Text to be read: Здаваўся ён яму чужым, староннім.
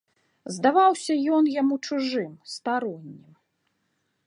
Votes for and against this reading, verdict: 0, 2, rejected